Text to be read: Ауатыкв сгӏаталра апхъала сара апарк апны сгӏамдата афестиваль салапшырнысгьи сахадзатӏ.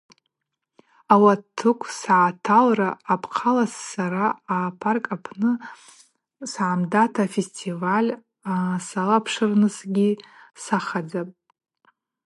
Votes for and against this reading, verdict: 4, 0, accepted